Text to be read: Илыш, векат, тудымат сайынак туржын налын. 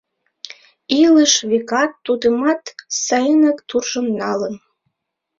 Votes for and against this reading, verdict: 0, 2, rejected